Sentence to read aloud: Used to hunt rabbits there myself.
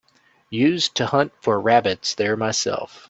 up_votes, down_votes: 0, 3